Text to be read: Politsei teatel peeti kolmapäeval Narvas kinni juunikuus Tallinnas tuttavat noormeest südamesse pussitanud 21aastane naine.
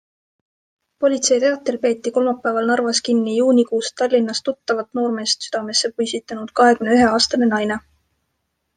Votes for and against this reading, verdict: 0, 2, rejected